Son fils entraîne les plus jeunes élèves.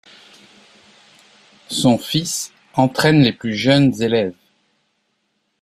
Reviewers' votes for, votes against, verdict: 2, 0, accepted